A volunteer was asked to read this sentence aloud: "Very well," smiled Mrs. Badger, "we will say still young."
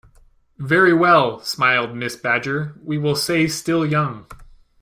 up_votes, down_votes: 2, 0